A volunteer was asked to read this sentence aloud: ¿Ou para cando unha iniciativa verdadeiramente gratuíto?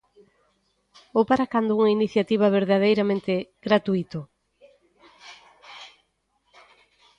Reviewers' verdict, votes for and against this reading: rejected, 1, 2